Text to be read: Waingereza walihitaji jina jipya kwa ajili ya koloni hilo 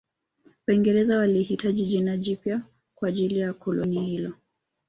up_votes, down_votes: 2, 1